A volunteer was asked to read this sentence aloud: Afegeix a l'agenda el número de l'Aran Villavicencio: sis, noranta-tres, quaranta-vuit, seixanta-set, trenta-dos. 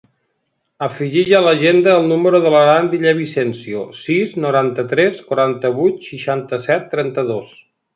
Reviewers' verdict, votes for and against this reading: accepted, 2, 0